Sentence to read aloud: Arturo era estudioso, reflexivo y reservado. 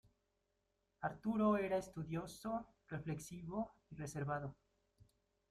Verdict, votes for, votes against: rejected, 0, 2